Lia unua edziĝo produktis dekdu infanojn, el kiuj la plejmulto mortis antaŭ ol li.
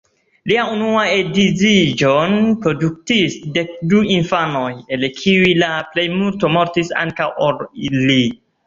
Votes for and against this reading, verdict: 2, 1, accepted